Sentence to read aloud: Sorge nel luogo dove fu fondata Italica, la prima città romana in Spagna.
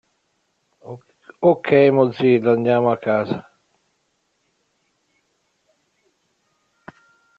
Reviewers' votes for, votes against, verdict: 0, 2, rejected